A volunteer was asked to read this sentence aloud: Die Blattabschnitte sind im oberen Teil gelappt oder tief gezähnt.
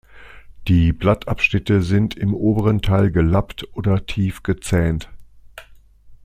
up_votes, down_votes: 2, 0